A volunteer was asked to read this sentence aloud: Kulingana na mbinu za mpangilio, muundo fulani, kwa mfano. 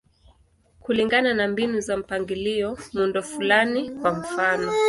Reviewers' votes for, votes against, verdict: 2, 0, accepted